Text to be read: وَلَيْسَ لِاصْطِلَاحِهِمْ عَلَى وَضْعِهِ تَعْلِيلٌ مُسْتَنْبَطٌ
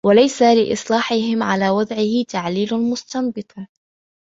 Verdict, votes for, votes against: accepted, 2, 0